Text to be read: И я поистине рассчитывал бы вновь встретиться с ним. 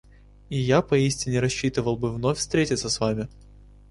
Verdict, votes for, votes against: rejected, 0, 2